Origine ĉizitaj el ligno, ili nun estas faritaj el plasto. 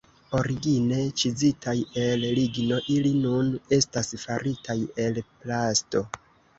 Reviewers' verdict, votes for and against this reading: accepted, 2, 0